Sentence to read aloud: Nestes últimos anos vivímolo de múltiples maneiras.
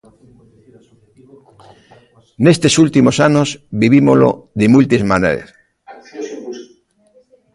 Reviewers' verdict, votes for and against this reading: rejected, 0, 2